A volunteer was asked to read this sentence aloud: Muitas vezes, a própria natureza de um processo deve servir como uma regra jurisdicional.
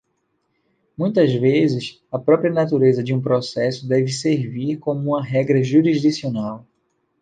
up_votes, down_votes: 2, 0